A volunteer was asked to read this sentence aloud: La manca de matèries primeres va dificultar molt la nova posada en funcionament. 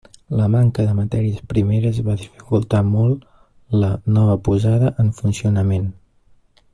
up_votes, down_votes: 2, 0